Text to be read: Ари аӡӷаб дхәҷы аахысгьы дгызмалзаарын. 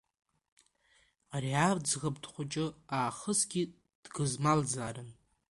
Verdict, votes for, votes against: rejected, 1, 2